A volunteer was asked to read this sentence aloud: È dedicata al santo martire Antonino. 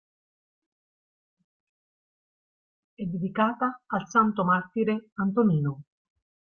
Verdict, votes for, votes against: rejected, 0, 2